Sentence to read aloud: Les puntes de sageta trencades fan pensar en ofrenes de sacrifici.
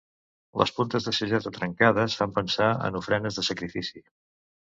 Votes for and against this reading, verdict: 2, 0, accepted